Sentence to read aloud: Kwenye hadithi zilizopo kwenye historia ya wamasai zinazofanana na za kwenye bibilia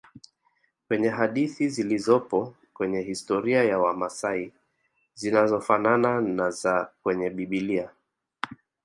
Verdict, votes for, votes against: accepted, 2, 0